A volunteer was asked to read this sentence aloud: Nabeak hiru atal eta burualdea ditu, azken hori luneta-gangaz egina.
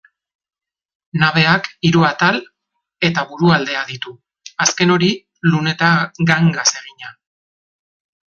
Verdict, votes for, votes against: rejected, 1, 2